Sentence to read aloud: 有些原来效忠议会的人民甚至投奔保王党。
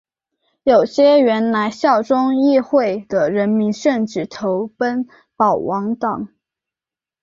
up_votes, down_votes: 3, 1